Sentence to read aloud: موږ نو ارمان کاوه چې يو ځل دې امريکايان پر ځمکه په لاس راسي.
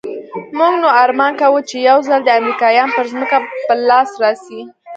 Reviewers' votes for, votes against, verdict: 2, 0, accepted